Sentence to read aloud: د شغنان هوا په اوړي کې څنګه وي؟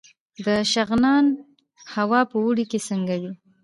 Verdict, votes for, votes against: accepted, 2, 0